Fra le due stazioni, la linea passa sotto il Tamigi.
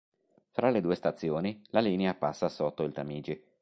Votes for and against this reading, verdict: 3, 0, accepted